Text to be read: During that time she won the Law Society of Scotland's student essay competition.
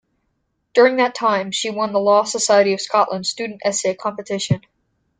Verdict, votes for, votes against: rejected, 1, 2